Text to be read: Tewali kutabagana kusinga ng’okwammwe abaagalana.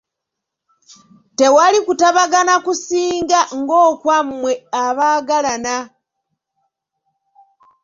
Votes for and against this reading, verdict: 3, 0, accepted